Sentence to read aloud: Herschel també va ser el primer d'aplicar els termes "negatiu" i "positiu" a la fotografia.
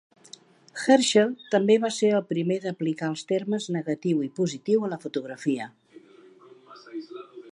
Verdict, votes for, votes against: accepted, 2, 0